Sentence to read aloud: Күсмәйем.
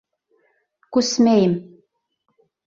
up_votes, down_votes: 2, 3